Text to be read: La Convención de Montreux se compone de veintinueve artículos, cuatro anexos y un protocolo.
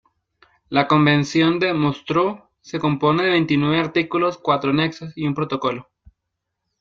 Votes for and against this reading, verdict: 1, 2, rejected